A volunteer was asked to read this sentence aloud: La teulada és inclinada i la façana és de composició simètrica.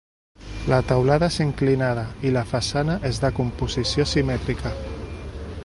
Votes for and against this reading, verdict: 2, 1, accepted